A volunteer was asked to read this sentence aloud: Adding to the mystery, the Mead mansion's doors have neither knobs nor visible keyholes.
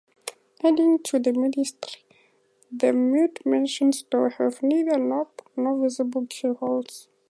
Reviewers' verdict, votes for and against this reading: rejected, 0, 2